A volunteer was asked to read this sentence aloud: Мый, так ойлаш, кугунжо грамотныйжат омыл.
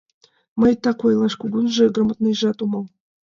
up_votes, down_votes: 2, 0